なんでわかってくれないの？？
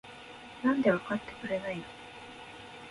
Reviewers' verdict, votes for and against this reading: accepted, 2, 0